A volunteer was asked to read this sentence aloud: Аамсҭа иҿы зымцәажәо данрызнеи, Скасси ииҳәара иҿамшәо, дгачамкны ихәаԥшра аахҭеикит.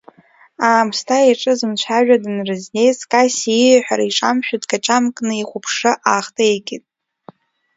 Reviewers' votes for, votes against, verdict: 2, 1, accepted